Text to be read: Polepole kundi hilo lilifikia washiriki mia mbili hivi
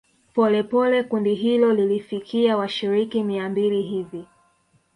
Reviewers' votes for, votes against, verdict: 1, 2, rejected